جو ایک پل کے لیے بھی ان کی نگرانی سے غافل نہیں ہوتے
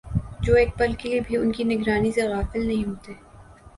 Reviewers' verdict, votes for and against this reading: accepted, 2, 0